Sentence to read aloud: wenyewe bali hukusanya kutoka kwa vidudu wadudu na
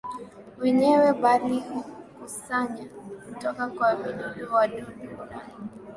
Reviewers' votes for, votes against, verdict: 6, 0, accepted